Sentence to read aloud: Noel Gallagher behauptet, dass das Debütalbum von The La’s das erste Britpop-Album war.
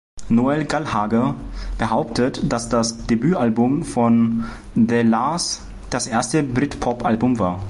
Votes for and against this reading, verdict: 0, 2, rejected